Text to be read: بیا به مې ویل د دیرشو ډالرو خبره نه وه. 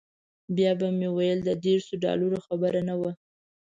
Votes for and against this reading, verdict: 0, 2, rejected